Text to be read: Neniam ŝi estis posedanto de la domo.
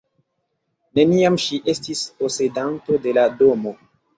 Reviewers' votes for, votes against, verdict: 2, 0, accepted